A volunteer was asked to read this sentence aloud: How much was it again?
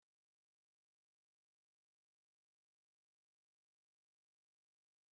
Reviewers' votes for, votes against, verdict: 0, 2, rejected